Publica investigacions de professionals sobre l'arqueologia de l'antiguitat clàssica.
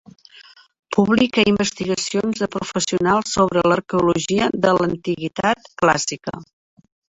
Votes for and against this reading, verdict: 0, 2, rejected